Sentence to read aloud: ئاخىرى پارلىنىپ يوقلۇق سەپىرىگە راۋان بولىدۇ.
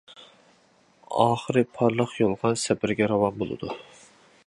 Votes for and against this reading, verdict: 0, 2, rejected